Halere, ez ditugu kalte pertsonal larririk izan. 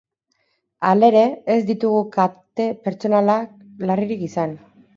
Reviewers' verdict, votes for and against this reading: rejected, 0, 4